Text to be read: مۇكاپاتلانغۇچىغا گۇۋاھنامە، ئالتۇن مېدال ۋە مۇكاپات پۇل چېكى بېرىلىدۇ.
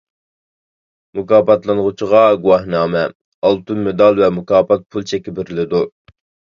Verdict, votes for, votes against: accepted, 2, 0